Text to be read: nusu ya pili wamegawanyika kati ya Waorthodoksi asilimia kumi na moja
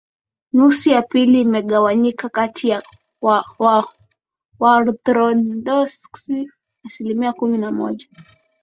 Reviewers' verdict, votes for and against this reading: rejected, 1, 2